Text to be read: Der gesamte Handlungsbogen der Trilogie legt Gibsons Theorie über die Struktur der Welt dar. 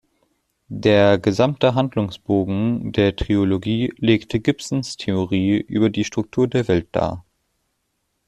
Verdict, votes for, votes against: rejected, 0, 2